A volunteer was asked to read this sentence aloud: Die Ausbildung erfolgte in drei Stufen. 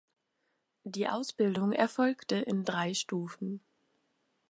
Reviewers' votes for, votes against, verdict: 2, 0, accepted